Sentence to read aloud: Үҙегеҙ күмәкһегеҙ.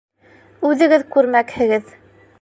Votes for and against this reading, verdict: 1, 2, rejected